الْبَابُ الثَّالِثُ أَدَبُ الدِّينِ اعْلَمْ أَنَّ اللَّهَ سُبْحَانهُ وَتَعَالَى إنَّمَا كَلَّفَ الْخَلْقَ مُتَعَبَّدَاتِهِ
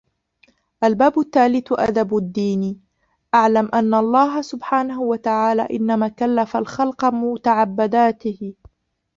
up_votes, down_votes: 0, 2